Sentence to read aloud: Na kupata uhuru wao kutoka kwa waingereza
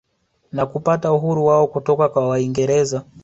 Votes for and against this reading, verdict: 2, 0, accepted